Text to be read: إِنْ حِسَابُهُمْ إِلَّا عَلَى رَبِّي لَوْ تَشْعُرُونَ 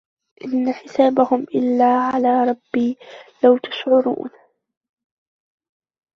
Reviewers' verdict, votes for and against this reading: rejected, 1, 2